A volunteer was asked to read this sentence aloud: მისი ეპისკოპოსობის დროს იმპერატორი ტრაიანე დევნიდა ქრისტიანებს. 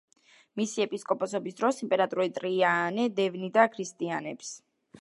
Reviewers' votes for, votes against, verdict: 1, 2, rejected